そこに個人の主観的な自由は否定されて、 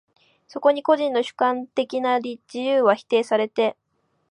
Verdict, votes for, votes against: accepted, 2, 0